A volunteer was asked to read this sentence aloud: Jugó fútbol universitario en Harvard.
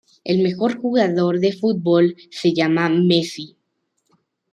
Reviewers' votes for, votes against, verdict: 0, 2, rejected